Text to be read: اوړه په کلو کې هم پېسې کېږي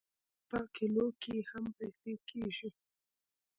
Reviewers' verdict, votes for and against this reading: rejected, 1, 2